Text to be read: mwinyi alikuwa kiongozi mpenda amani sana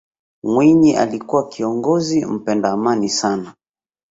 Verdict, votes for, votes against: accepted, 2, 0